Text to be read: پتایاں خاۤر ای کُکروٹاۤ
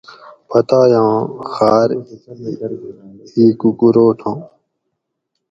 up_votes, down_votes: 2, 2